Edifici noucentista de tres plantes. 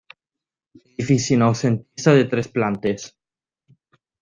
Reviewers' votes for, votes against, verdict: 1, 3, rejected